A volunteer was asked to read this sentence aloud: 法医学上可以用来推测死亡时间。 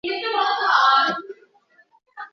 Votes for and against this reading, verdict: 0, 2, rejected